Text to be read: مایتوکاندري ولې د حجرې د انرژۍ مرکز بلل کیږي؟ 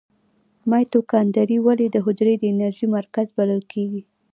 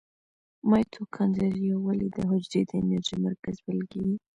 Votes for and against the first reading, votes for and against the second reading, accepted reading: 2, 1, 0, 2, first